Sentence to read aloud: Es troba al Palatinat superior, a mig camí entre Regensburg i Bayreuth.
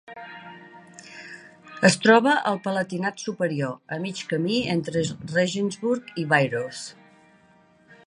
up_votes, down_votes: 0, 2